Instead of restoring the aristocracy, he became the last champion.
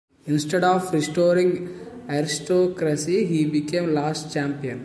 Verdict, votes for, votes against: accepted, 2, 1